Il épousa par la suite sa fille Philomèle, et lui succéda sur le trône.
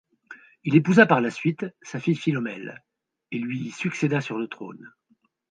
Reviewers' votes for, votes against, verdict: 2, 0, accepted